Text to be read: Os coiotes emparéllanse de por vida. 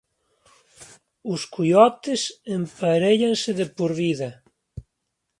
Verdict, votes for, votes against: accepted, 2, 1